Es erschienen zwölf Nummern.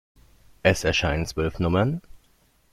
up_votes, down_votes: 0, 2